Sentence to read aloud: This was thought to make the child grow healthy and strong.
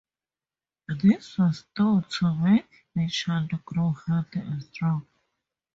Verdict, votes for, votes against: accepted, 2, 0